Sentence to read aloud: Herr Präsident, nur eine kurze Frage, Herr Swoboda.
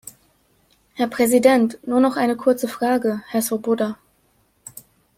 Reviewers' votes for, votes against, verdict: 0, 2, rejected